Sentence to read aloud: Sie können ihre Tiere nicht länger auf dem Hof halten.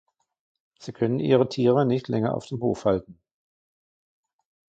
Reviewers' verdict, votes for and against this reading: accepted, 2, 1